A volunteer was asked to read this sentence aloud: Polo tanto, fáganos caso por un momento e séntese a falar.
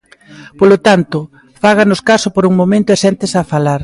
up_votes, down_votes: 2, 0